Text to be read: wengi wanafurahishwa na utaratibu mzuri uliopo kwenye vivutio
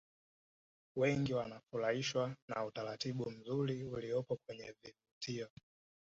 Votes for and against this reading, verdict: 2, 0, accepted